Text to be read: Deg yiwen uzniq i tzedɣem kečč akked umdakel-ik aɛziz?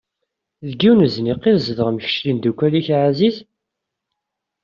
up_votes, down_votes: 1, 2